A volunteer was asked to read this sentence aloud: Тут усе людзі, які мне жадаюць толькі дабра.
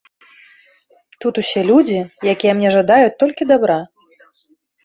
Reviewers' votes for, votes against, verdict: 2, 1, accepted